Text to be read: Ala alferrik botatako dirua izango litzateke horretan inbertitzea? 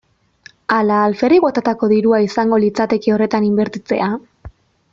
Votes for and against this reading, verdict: 2, 0, accepted